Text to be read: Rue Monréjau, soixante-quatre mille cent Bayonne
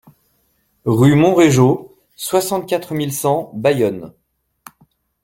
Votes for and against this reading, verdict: 2, 0, accepted